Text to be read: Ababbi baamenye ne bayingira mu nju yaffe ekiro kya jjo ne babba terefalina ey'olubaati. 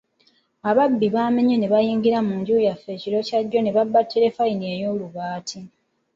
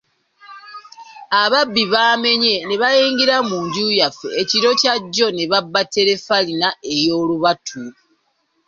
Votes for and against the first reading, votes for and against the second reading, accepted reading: 2, 0, 0, 2, first